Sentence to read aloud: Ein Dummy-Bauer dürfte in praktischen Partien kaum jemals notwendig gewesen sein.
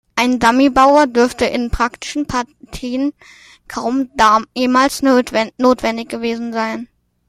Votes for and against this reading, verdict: 0, 2, rejected